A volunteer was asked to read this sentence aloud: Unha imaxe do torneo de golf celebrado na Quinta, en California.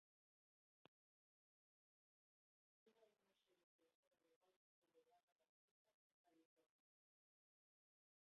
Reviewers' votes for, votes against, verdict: 0, 2, rejected